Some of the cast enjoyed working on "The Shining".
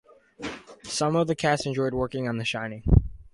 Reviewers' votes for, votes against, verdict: 4, 0, accepted